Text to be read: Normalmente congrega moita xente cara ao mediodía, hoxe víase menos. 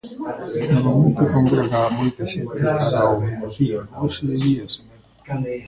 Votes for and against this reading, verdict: 0, 2, rejected